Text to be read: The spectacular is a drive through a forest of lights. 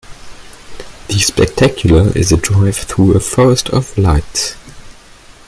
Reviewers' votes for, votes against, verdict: 2, 1, accepted